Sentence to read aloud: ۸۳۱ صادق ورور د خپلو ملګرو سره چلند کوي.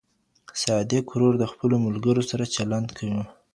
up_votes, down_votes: 0, 2